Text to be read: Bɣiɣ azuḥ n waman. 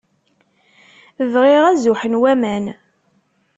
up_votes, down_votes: 2, 0